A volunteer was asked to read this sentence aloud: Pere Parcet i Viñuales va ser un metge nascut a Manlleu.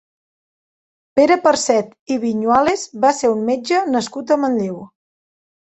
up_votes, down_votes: 2, 0